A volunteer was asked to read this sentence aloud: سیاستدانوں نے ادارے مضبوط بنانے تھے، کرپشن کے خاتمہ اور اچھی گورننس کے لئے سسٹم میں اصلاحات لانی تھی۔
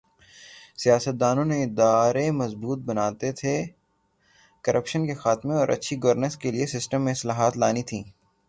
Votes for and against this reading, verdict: 3, 0, accepted